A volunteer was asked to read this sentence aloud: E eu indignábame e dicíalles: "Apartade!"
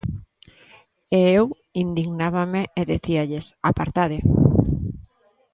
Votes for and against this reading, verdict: 1, 2, rejected